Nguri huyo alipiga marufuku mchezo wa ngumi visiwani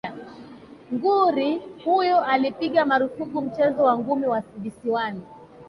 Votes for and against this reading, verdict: 0, 2, rejected